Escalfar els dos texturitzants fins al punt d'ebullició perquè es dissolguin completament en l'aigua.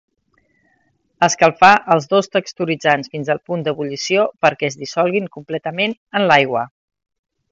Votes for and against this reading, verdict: 2, 0, accepted